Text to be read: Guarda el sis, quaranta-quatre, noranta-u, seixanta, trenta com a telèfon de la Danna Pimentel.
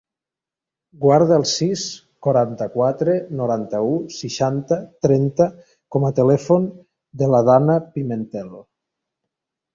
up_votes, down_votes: 3, 0